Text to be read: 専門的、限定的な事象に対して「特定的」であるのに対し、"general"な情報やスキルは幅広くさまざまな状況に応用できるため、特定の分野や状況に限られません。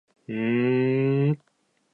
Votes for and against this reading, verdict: 0, 2, rejected